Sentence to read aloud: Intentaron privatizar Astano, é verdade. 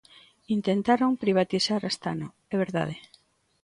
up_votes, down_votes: 2, 0